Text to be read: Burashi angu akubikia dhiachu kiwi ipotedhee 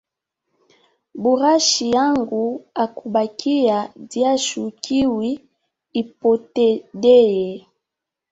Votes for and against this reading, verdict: 1, 2, rejected